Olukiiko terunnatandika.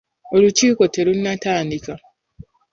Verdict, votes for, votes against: accepted, 2, 0